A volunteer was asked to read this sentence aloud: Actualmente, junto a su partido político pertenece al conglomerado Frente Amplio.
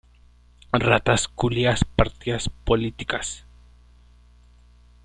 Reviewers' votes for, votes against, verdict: 0, 2, rejected